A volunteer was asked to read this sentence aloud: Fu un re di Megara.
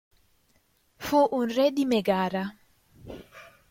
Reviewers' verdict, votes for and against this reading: rejected, 1, 2